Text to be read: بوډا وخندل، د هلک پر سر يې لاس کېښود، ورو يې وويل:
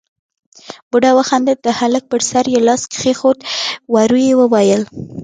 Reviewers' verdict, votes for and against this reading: accepted, 2, 0